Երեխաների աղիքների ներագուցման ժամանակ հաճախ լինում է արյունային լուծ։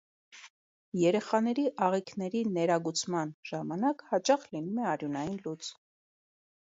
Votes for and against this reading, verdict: 2, 0, accepted